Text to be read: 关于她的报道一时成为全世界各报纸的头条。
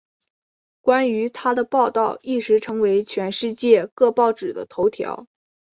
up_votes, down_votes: 3, 0